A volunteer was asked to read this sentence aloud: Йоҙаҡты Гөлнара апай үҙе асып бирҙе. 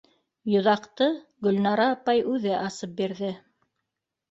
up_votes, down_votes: 2, 0